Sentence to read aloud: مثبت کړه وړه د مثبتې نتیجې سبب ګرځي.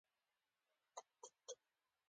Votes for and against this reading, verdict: 2, 1, accepted